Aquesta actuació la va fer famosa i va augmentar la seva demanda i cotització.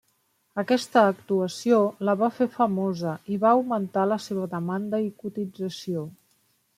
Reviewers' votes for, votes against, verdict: 3, 0, accepted